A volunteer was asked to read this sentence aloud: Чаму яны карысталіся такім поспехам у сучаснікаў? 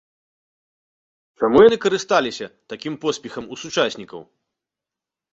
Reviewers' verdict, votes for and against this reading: rejected, 0, 2